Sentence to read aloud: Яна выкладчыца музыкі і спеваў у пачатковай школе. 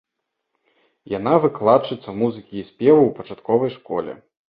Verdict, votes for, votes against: accepted, 2, 0